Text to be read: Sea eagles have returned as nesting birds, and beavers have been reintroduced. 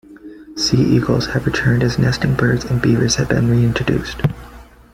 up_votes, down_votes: 2, 1